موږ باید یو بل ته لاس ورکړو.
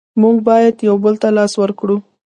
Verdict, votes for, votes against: accepted, 2, 0